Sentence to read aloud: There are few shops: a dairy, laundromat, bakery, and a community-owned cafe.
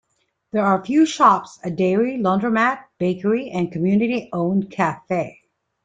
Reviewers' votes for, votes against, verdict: 0, 2, rejected